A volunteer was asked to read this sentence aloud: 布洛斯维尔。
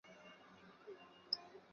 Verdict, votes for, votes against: rejected, 0, 5